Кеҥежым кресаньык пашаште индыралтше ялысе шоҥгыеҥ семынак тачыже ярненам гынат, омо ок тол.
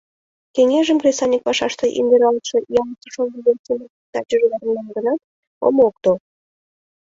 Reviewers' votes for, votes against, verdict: 2, 3, rejected